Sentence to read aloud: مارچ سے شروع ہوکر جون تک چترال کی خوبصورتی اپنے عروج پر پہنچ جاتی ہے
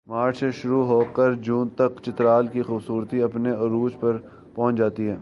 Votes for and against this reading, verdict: 3, 4, rejected